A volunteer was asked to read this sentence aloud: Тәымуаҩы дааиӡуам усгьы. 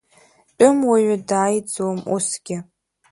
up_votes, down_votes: 1, 2